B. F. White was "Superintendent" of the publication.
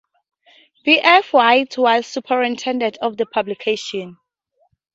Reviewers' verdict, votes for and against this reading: rejected, 2, 2